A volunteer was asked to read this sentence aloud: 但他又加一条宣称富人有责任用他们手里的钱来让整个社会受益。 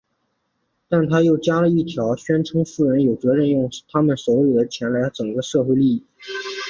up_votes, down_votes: 5, 3